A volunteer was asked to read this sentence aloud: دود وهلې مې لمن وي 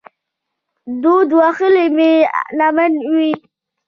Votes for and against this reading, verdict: 1, 2, rejected